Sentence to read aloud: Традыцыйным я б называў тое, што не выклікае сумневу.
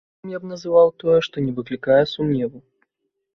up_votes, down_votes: 0, 2